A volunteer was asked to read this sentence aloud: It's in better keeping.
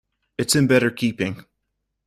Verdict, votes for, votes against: accepted, 2, 0